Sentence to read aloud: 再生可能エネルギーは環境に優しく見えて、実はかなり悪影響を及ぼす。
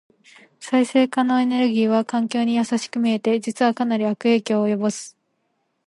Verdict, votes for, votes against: accepted, 2, 0